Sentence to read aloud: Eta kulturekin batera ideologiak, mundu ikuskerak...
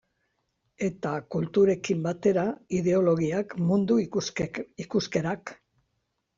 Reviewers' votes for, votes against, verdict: 0, 2, rejected